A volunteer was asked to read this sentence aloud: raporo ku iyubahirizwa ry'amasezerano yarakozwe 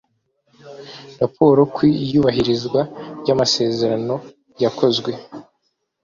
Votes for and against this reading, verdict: 0, 2, rejected